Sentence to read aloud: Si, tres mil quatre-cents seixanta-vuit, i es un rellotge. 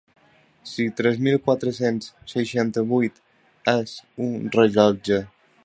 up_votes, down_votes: 1, 2